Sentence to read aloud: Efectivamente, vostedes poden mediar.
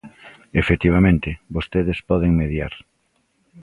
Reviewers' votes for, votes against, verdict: 2, 0, accepted